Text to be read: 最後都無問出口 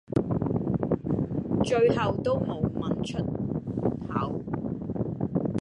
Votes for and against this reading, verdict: 1, 2, rejected